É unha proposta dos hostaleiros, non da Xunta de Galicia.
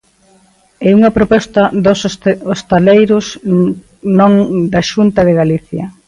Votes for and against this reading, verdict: 0, 2, rejected